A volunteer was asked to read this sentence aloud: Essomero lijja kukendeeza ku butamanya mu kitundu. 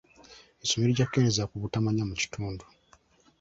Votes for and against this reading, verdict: 1, 2, rejected